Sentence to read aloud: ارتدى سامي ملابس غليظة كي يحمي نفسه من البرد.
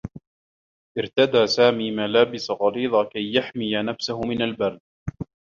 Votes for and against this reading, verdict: 1, 2, rejected